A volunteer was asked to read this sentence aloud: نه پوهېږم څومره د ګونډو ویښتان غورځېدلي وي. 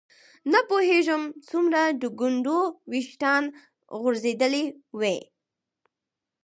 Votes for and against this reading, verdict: 4, 0, accepted